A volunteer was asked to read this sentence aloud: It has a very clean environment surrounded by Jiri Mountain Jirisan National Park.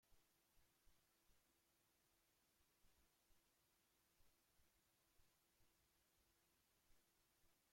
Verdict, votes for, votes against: rejected, 0, 2